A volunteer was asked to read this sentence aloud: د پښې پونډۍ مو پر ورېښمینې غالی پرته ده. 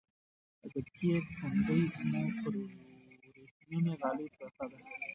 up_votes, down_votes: 0, 2